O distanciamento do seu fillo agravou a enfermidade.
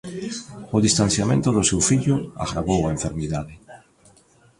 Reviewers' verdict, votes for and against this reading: rejected, 0, 2